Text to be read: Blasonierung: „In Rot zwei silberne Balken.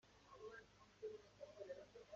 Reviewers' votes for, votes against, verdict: 0, 2, rejected